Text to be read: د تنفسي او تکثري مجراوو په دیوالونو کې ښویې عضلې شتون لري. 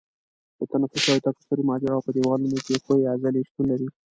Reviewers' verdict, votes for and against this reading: rejected, 1, 2